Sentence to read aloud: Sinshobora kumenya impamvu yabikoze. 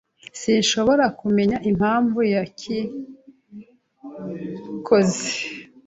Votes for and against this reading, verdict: 0, 2, rejected